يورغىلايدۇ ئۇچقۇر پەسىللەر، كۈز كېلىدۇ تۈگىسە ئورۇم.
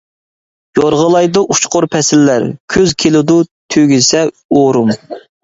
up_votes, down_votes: 2, 0